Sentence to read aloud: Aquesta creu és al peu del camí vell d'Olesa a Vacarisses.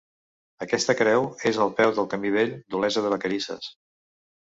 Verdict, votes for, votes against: rejected, 0, 2